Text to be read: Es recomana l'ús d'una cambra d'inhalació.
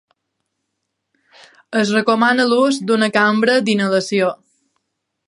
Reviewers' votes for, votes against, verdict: 2, 0, accepted